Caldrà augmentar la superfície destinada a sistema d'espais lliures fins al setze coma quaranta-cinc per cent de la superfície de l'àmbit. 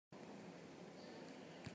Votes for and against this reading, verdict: 0, 3, rejected